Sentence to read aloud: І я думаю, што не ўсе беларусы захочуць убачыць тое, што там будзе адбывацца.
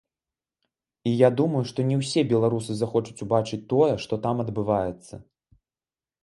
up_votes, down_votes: 0, 3